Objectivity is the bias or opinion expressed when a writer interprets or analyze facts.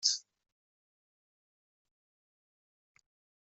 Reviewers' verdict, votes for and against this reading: rejected, 0, 2